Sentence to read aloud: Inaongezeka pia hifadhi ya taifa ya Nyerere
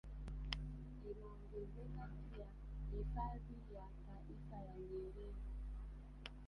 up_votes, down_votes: 0, 2